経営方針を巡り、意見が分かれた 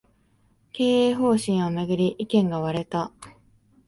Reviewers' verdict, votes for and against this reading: rejected, 0, 2